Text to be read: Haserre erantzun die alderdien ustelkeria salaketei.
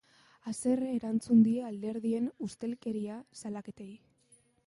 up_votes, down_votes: 2, 0